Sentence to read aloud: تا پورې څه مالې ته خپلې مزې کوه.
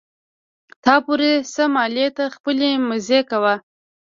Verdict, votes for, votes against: rejected, 1, 2